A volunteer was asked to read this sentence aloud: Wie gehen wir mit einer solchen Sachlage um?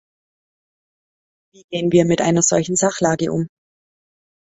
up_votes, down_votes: 1, 2